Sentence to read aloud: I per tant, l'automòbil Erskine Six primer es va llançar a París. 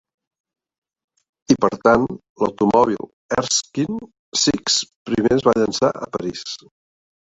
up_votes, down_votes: 1, 2